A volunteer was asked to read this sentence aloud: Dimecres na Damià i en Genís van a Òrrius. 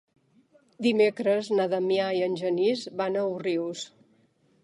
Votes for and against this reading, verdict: 1, 3, rejected